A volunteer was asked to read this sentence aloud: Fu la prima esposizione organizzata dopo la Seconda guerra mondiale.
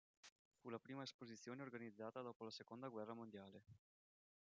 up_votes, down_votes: 1, 2